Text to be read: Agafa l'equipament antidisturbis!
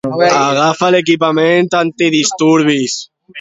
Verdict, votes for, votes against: rejected, 0, 2